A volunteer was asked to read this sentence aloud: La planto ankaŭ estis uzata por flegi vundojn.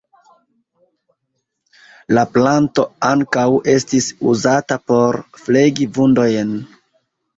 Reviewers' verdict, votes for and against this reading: rejected, 1, 2